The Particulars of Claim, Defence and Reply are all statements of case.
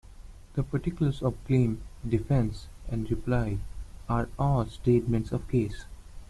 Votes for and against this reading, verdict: 2, 1, accepted